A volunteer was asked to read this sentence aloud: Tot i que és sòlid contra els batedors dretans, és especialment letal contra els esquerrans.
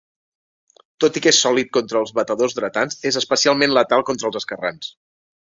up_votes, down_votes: 1, 2